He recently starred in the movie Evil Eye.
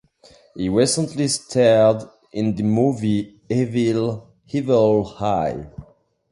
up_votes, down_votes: 0, 2